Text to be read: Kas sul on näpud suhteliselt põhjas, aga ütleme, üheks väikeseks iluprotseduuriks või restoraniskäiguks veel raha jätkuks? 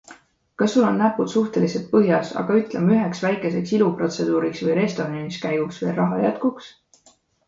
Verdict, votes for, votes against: accepted, 2, 0